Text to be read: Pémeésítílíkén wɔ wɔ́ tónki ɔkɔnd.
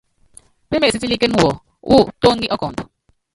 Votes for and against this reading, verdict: 0, 2, rejected